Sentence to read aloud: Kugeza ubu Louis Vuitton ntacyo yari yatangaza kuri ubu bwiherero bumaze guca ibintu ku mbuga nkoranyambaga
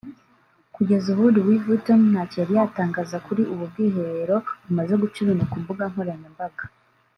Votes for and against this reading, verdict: 0, 2, rejected